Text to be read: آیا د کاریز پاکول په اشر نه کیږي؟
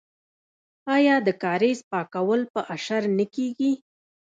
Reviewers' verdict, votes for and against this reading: rejected, 1, 2